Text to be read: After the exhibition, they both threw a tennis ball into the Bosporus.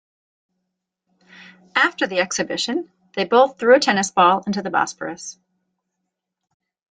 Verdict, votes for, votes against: accepted, 2, 0